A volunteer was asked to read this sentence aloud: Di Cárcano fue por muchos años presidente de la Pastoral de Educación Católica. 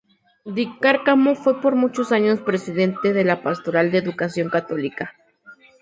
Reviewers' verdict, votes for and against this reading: rejected, 0, 2